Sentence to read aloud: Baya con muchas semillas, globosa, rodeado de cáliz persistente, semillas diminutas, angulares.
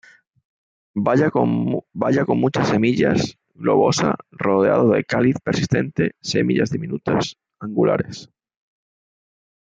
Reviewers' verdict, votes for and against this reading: rejected, 0, 2